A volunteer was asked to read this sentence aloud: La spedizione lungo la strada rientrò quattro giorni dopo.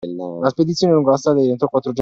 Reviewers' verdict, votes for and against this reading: rejected, 0, 2